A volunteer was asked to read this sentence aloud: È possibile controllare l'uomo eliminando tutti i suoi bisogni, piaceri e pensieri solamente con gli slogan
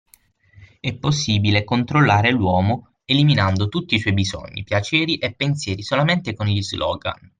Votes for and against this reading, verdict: 6, 0, accepted